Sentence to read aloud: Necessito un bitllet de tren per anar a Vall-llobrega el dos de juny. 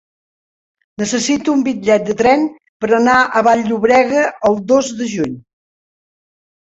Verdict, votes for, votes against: rejected, 1, 2